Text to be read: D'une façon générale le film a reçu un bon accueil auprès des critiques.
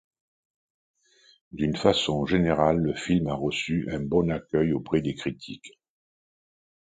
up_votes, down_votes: 2, 0